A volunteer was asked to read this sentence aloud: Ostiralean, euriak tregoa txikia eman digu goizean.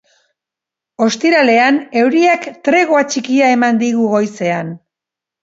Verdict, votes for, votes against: accepted, 2, 0